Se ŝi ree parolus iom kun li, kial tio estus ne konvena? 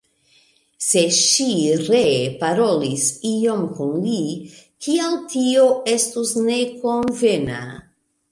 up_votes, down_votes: 1, 2